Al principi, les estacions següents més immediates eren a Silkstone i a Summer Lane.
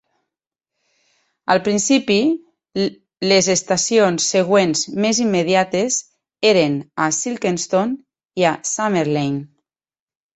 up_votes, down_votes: 2, 4